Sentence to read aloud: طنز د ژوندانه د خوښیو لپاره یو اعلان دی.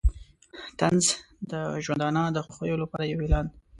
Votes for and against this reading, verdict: 2, 0, accepted